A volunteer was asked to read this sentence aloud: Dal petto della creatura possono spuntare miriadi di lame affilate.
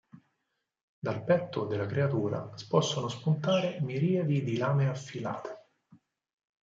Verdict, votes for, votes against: accepted, 4, 0